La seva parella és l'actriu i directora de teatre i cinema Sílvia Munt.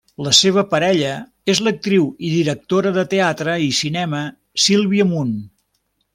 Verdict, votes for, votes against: accepted, 2, 0